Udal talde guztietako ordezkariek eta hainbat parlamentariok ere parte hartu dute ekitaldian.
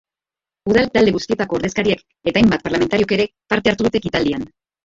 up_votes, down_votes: 2, 2